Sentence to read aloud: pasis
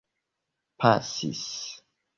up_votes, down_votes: 3, 1